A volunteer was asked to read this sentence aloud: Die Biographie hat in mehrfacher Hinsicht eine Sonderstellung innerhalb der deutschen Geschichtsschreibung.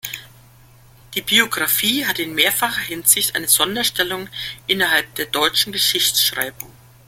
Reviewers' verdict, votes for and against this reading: accepted, 2, 0